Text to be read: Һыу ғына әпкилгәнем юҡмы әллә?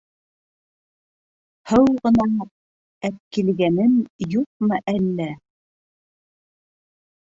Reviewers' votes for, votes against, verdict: 0, 2, rejected